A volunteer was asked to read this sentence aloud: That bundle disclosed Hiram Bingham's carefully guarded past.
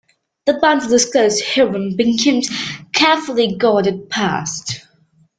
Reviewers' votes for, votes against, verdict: 1, 2, rejected